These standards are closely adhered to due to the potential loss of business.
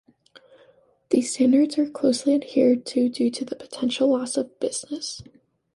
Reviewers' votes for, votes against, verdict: 2, 0, accepted